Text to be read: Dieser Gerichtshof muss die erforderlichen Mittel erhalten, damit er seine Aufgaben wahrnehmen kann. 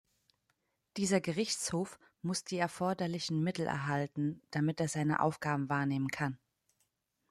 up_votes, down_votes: 2, 0